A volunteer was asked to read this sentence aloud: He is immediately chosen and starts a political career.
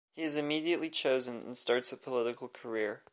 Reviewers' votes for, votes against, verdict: 2, 0, accepted